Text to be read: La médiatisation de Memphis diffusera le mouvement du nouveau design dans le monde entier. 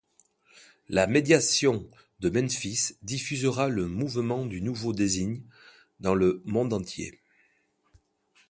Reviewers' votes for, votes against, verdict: 1, 2, rejected